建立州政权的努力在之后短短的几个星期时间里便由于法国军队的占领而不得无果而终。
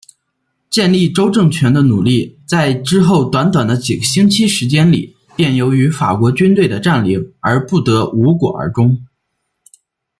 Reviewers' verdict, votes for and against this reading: accepted, 2, 0